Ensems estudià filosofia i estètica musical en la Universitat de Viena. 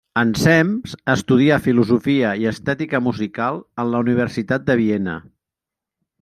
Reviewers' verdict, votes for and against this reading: accepted, 3, 0